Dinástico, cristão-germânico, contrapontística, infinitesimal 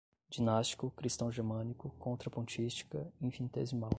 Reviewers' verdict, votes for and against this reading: rejected, 0, 5